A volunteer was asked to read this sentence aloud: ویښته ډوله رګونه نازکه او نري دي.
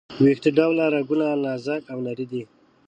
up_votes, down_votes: 2, 0